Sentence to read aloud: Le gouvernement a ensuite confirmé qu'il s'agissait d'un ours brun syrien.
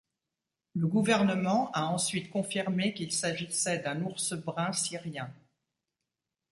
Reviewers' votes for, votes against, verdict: 2, 0, accepted